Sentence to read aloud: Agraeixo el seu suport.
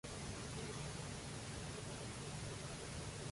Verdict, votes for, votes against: rejected, 0, 2